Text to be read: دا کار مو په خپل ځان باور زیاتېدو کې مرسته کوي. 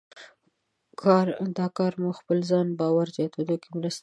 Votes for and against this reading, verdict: 1, 2, rejected